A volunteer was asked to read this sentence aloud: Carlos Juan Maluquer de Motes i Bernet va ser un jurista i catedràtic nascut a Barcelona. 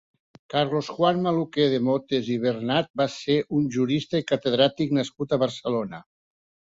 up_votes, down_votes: 2, 1